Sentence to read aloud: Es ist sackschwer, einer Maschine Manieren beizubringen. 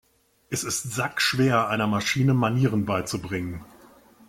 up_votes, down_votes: 2, 0